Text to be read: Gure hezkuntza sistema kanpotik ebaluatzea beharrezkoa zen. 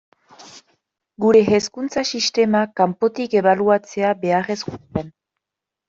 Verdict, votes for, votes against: rejected, 1, 2